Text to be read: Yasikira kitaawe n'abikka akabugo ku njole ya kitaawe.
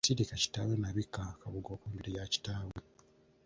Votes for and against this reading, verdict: 0, 2, rejected